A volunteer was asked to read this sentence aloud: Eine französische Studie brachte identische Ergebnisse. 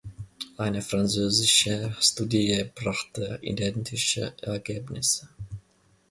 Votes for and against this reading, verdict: 0, 2, rejected